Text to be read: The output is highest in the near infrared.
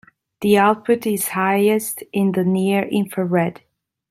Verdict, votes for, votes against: accepted, 2, 0